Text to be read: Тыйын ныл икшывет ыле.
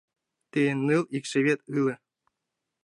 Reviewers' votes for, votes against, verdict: 0, 2, rejected